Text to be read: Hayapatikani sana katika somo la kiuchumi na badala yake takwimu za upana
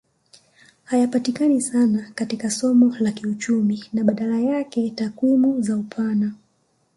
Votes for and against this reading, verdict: 2, 1, accepted